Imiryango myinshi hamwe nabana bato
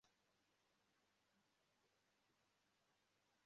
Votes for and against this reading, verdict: 0, 2, rejected